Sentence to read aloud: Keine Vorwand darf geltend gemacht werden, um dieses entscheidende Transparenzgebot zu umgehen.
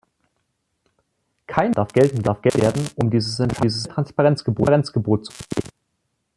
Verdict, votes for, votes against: rejected, 0, 2